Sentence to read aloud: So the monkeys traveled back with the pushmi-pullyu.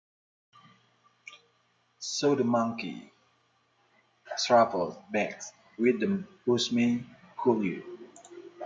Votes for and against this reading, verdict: 0, 2, rejected